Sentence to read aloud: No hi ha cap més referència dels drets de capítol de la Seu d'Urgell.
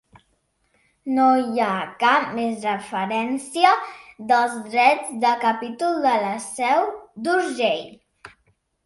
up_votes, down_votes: 2, 0